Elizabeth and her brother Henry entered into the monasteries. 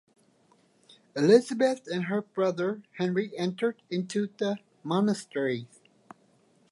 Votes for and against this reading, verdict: 1, 2, rejected